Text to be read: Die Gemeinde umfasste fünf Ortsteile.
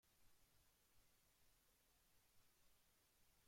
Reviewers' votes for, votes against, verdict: 0, 2, rejected